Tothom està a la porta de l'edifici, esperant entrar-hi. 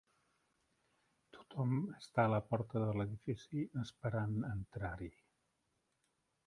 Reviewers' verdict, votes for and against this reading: rejected, 0, 2